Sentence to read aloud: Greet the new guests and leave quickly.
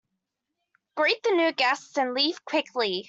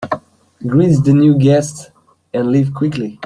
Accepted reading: first